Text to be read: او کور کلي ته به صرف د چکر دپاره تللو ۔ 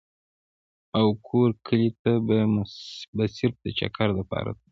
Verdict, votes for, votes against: rejected, 0, 2